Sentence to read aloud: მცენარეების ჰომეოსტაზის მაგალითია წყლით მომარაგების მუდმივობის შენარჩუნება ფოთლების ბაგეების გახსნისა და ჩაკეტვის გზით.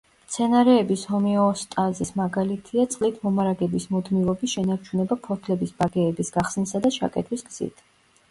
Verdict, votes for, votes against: rejected, 1, 2